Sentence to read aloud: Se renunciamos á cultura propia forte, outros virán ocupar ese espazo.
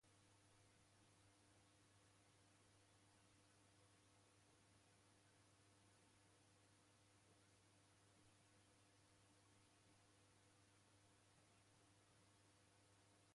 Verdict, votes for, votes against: rejected, 0, 2